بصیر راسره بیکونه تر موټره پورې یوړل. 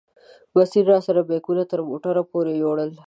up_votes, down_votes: 2, 0